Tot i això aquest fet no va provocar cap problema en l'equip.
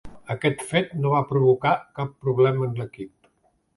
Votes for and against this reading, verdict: 1, 2, rejected